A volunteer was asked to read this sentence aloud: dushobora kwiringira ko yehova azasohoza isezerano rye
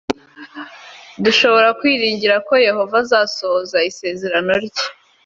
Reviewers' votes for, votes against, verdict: 2, 0, accepted